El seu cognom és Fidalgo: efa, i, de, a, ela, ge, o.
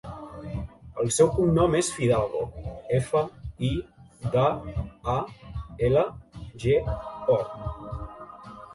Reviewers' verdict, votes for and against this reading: rejected, 0, 2